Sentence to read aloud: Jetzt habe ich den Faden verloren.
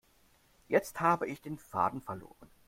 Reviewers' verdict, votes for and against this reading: accepted, 2, 0